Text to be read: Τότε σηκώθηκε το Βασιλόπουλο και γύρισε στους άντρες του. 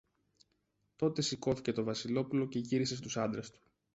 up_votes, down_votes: 2, 0